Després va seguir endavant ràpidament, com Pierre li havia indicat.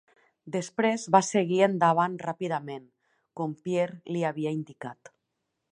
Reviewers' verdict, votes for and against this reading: accepted, 3, 0